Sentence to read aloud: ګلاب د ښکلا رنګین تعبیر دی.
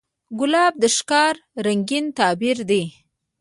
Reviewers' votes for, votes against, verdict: 1, 2, rejected